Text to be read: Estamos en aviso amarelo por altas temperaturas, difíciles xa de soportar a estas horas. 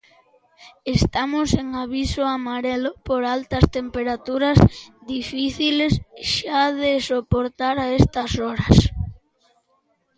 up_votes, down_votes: 2, 0